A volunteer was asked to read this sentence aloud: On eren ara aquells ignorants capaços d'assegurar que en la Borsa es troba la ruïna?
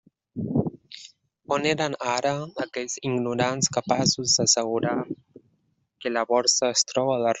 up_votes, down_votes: 0, 2